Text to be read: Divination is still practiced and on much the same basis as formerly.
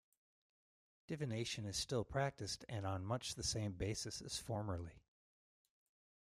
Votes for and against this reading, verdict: 2, 0, accepted